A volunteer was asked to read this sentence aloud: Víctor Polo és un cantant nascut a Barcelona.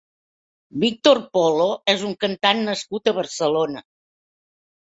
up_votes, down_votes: 3, 0